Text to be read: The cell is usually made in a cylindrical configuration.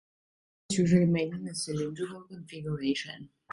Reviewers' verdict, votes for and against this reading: rejected, 0, 2